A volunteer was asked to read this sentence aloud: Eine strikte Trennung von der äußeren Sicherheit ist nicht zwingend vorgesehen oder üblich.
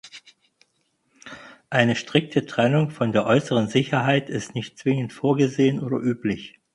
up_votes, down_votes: 4, 0